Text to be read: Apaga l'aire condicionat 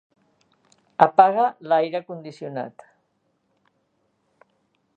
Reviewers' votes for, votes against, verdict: 3, 0, accepted